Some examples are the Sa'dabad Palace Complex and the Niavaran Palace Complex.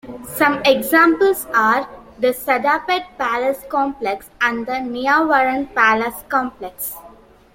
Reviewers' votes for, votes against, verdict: 2, 0, accepted